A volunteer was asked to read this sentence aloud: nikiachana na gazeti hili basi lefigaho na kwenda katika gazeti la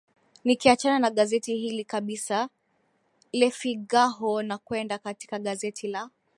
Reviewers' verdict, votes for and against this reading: rejected, 1, 3